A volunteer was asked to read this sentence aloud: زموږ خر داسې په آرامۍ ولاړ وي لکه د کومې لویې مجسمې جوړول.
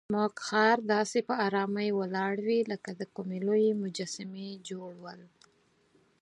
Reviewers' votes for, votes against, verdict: 4, 0, accepted